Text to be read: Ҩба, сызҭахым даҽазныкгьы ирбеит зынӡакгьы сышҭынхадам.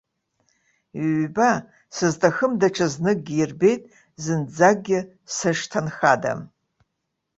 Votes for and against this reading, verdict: 2, 0, accepted